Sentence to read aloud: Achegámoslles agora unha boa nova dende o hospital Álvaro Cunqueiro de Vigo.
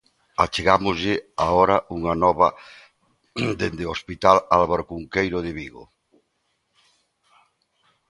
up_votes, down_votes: 0, 2